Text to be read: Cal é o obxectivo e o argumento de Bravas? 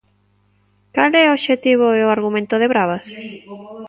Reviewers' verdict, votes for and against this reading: rejected, 1, 2